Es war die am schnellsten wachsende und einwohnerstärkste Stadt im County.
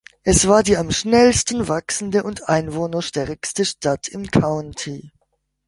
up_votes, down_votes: 2, 0